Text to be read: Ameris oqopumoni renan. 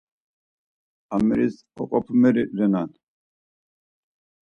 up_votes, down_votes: 4, 2